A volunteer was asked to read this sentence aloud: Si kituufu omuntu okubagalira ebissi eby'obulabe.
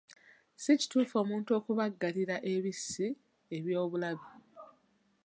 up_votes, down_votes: 0, 2